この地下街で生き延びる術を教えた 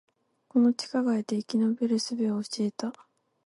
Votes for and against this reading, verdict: 4, 0, accepted